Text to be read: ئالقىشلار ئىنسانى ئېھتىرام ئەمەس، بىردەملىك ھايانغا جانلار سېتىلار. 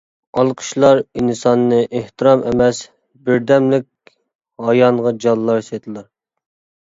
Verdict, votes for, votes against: rejected, 0, 2